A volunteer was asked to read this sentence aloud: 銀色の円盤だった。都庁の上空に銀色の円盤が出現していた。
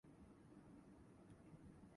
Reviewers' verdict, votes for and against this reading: rejected, 0, 2